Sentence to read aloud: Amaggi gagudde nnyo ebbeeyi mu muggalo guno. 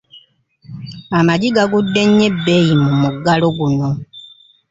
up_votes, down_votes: 0, 2